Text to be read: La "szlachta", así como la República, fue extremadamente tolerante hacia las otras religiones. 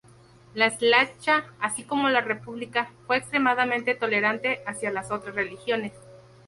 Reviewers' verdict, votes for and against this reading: accepted, 2, 0